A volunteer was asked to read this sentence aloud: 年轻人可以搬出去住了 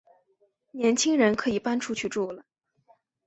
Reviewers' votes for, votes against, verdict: 2, 0, accepted